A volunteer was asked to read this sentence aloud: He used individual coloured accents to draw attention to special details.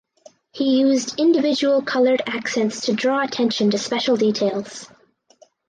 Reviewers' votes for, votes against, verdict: 4, 0, accepted